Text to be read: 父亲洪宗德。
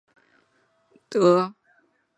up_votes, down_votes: 1, 2